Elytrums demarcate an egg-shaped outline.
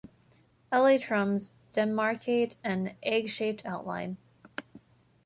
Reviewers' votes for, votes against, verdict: 2, 0, accepted